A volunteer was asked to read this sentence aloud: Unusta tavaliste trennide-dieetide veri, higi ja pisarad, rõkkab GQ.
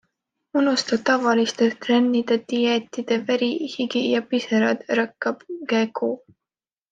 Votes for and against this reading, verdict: 2, 0, accepted